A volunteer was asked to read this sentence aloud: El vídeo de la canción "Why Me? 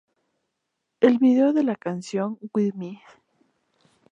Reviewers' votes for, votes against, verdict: 2, 0, accepted